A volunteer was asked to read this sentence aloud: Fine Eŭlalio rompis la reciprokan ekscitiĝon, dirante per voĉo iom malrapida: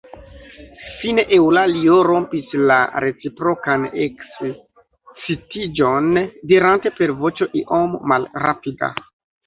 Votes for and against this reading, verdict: 1, 2, rejected